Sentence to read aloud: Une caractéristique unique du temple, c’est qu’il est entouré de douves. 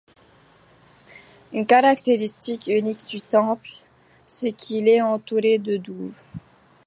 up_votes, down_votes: 1, 2